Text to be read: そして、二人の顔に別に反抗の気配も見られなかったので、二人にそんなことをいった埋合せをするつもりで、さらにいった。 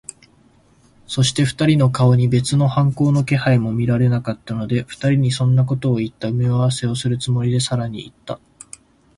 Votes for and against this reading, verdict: 1, 2, rejected